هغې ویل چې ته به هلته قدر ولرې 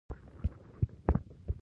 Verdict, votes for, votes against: rejected, 1, 2